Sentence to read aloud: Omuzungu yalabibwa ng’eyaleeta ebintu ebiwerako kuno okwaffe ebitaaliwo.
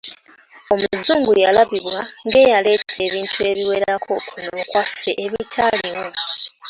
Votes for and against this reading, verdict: 2, 1, accepted